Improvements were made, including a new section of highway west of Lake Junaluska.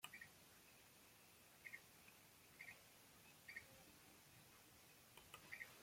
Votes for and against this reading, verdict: 0, 2, rejected